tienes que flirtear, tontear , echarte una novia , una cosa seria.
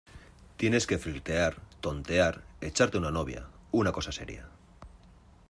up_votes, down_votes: 2, 0